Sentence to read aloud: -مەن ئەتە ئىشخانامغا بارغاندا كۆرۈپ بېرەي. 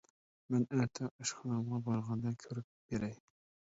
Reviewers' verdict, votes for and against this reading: rejected, 1, 2